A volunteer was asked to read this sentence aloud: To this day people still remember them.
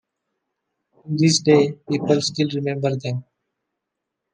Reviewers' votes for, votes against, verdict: 2, 0, accepted